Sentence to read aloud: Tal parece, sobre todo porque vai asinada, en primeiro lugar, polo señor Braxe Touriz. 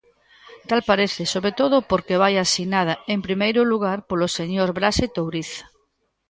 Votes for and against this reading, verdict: 2, 0, accepted